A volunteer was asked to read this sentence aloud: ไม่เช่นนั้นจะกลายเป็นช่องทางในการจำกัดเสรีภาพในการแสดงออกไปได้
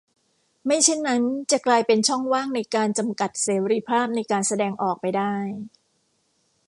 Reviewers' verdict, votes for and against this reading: rejected, 1, 2